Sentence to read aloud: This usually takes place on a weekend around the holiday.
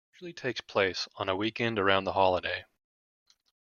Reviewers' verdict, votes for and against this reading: rejected, 1, 2